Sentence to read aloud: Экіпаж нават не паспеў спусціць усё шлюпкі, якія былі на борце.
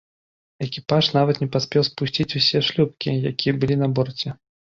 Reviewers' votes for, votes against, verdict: 2, 0, accepted